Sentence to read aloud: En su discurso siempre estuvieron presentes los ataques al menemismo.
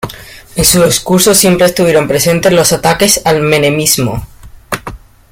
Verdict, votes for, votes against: accepted, 2, 0